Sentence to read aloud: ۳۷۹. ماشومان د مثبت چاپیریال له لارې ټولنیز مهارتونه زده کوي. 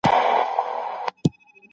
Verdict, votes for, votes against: rejected, 0, 2